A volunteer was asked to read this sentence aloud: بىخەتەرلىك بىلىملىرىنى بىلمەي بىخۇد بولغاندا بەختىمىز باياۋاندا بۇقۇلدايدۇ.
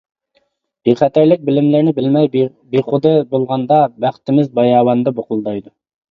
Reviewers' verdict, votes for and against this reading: accepted, 2, 1